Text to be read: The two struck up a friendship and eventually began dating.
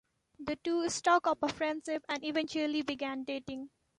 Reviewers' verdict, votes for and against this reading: rejected, 1, 2